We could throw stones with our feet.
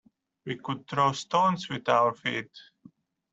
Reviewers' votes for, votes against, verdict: 0, 2, rejected